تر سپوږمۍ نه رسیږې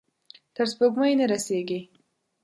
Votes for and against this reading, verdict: 1, 2, rejected